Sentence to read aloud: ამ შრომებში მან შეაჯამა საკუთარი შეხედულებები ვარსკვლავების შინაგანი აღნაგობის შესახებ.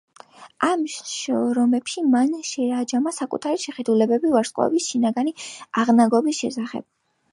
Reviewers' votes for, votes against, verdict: 1, 2, rejected